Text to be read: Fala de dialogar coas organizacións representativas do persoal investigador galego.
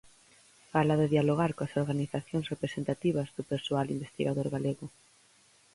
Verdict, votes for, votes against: accepted, 4, 0